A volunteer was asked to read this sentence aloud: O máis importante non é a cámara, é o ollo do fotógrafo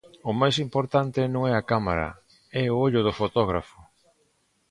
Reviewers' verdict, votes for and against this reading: accepted, 2, 0